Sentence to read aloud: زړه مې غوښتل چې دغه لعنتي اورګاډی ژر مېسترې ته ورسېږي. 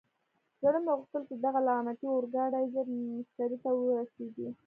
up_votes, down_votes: 0, 2